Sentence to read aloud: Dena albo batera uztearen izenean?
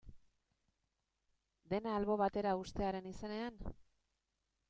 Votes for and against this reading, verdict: 2, 1, accepted